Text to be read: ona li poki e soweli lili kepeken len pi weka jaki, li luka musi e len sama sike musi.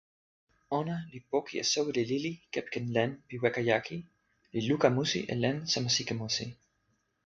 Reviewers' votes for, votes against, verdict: 2, 0, accepted